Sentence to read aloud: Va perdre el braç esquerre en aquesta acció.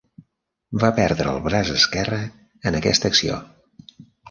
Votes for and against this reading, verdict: 1, 2, rejected